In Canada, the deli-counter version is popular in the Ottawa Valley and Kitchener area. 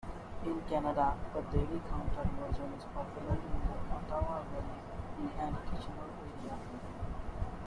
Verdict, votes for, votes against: rejected, 1, 2